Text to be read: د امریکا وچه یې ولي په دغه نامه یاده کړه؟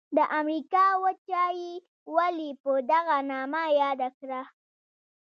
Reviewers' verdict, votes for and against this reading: accepted, 2, 0